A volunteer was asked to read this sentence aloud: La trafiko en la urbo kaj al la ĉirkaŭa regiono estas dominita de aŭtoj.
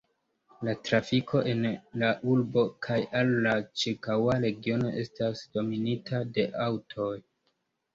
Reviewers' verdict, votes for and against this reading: accepted, 2, 1